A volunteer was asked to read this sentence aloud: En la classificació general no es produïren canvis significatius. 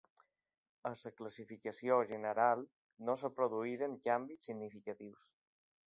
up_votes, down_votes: 0, 2